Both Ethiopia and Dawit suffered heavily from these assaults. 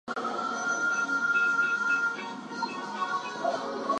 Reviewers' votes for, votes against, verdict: 2, 0, accepted